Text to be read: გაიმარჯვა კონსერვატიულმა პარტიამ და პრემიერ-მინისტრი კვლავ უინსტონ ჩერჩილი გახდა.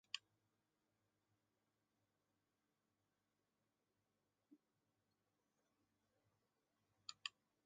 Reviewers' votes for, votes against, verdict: 0, 2, rejected